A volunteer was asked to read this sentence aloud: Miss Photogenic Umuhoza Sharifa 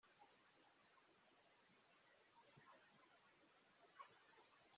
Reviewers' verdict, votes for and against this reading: rejected, 0, 2